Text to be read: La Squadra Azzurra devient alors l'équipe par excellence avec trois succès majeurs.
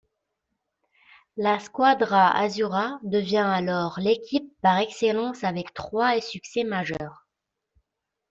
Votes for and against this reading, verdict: 2, 0, accepted